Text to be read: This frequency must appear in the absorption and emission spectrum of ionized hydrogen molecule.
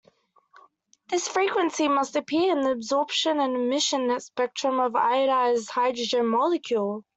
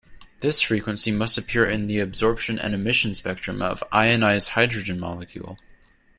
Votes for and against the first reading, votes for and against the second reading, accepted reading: 1, 2, 2, 0, second